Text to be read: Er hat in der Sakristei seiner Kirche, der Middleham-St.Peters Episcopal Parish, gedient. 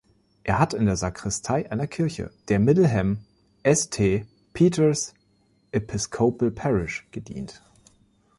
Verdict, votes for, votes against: rejected, 0, 2